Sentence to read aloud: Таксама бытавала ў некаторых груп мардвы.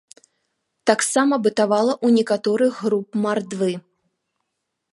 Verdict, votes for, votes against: rejected, 1, 2